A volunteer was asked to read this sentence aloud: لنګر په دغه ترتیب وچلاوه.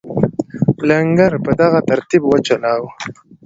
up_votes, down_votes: 2, 1